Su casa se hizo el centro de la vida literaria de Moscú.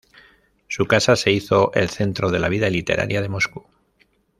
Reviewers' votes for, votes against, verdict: 2, 0, accepted